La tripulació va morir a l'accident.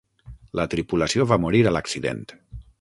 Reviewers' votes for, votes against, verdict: 0, 6, rejected